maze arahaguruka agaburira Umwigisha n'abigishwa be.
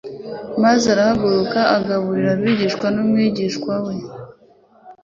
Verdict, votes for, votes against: rejected, 0, 2